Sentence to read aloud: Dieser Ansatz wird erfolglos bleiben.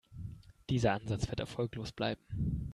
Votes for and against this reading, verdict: 2, 0, accepted